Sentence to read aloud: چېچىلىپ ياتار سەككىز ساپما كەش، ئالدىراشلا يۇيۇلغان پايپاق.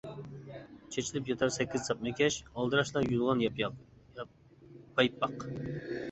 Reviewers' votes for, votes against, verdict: 0, 2, rejected